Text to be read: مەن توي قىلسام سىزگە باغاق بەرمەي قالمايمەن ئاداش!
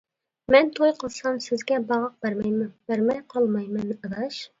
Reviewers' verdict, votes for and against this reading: rejected, 0, 2